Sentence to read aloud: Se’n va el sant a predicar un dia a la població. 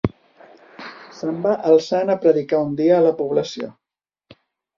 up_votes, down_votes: 2, 1